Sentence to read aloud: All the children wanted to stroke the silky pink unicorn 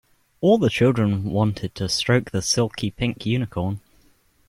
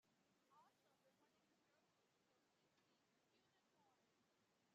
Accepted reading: first